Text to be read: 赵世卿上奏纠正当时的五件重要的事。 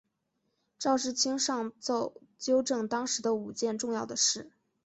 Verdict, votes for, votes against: rejected, 1, 2